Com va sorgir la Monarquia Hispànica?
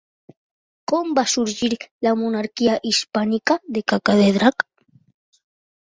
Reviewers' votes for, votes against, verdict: 0, 3, rejected